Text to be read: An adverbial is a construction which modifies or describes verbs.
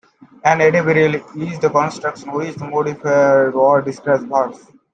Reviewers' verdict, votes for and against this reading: rejected, 0, 2